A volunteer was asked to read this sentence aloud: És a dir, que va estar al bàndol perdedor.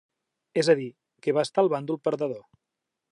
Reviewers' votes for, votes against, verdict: 3, 0, accepted